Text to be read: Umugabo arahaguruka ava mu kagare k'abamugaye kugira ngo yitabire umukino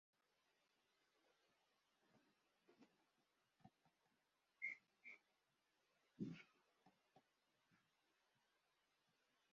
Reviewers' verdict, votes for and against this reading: rejected, 0, 2